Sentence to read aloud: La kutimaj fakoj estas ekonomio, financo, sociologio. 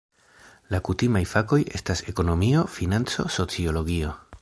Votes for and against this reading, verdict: 2, 0, accepted